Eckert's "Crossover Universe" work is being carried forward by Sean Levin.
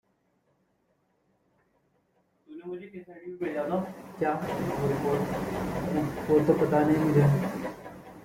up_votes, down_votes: 0, 2